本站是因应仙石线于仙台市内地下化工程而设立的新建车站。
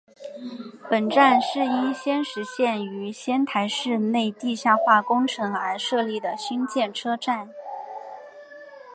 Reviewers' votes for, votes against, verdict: 0, 2, rejected